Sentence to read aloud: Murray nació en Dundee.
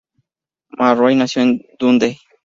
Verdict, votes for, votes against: rejected, 0, 2